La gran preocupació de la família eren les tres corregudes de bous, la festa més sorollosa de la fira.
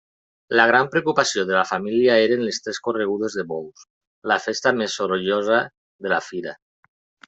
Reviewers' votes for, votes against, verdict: 2, 0, accepted